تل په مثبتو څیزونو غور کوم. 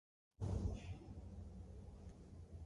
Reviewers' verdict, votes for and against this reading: accepted, 2, 0